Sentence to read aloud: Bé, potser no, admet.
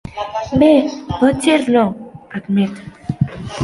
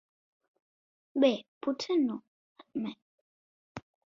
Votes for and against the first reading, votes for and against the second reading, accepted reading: 1, 2, 2, 0, second